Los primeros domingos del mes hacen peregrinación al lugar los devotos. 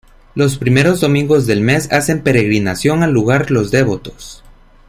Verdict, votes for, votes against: rejected, 1, 2